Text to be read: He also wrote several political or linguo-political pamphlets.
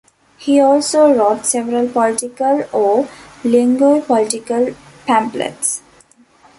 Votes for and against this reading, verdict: 2, 0, accepted